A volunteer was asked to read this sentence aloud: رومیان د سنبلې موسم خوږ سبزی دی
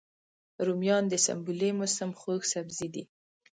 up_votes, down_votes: 2, 0